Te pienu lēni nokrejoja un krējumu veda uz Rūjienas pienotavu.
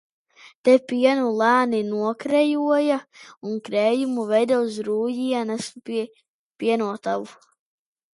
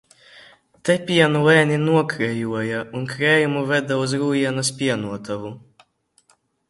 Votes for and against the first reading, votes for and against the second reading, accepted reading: 0, 2, 2, 1, second